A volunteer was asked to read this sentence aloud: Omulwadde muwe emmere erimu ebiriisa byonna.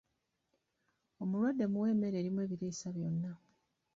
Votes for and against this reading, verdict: 0, 2, rejected